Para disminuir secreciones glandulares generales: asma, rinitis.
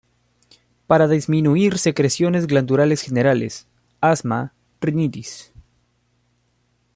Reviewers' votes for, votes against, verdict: 0, 2, rejected